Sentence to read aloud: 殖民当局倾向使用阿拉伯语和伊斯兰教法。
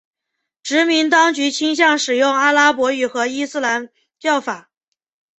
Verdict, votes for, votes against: accepted, 4, 0